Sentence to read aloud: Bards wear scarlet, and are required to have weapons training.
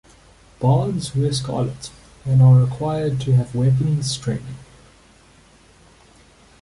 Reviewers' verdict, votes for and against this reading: rejected, 1, 2